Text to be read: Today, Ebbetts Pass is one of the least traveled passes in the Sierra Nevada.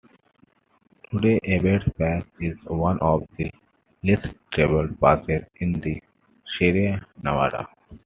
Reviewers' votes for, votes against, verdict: 1, 2, rejected